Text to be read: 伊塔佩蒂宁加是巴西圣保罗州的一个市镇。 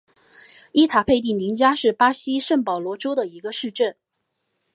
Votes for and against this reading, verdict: 5, 0, accepted